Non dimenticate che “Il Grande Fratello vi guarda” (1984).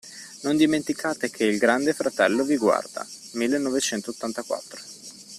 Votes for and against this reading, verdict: 0, 2, rejected